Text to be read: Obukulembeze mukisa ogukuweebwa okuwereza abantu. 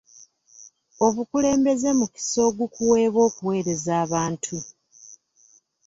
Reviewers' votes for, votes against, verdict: 2, 0, accepted